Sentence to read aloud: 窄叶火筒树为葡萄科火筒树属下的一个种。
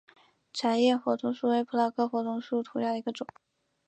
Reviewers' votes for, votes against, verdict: 2, 1, accepted